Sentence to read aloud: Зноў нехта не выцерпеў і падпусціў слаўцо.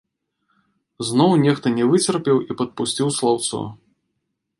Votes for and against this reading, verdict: 2, 0, accepted